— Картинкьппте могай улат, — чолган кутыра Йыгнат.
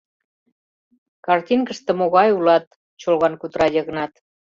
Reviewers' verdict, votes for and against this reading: rejected, 1, 2